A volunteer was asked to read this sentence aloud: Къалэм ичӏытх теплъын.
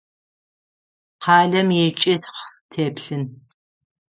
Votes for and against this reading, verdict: 3, 6, rejected